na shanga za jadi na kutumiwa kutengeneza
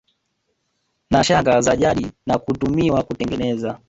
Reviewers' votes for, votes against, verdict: 1, 2, rejected